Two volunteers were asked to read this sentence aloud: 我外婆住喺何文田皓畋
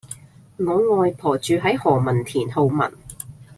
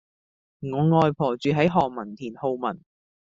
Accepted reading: first